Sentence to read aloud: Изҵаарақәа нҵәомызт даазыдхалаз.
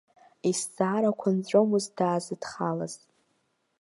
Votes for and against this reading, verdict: 2, 0, accepted